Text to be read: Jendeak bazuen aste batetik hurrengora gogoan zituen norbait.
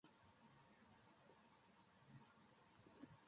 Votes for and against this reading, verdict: 0, 2, rejected